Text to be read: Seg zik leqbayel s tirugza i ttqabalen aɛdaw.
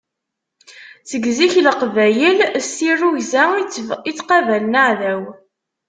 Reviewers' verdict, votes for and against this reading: rejected, 1, 2